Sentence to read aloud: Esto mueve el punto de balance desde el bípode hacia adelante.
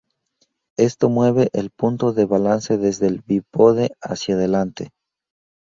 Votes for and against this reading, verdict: 2, 0, accepted